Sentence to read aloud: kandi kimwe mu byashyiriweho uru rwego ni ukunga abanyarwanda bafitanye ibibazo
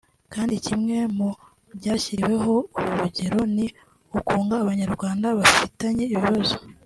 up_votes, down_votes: 1, 2